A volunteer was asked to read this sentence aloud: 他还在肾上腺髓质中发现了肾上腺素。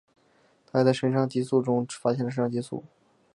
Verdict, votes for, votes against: rejected, 2, 3